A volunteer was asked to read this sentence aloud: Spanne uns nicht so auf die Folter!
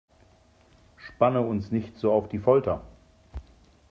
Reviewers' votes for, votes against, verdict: 2, 0, accepted